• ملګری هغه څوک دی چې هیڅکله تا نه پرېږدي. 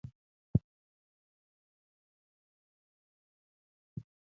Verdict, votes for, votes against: rejected, 1, 2